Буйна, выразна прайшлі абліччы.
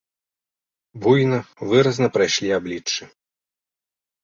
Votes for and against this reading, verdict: 2, 0, accepted